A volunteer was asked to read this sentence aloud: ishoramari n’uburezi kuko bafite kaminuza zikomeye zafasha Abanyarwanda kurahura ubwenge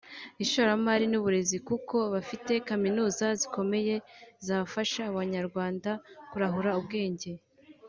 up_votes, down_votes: 2, 0